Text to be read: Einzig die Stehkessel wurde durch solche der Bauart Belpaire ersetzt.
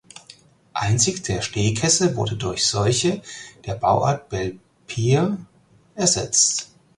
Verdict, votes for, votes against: rejected, 2, 4